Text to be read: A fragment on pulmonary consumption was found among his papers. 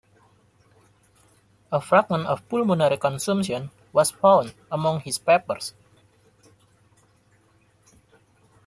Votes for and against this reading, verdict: 0, 2, rejected